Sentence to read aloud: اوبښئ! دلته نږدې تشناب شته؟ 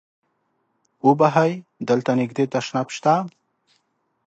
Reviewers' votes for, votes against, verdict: 1, 2, rejected